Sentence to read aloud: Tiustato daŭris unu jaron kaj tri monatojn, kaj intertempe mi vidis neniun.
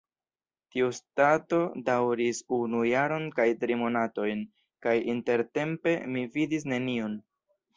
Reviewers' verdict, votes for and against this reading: accepted, 2, 0